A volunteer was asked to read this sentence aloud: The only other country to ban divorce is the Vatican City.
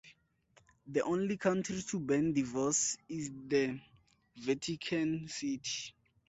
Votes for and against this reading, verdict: 2, 4, rejected